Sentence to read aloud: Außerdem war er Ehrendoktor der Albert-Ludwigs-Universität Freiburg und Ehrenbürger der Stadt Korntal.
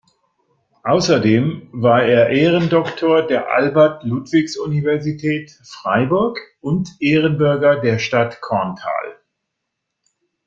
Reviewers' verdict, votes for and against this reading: accepted, 2, 0